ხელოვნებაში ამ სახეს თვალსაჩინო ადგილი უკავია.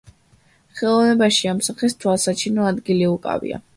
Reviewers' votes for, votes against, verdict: 2, 0, accepted